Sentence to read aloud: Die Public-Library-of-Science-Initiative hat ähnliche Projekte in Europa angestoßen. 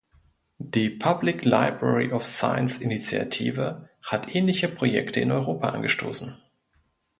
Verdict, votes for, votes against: accepted, 2, 0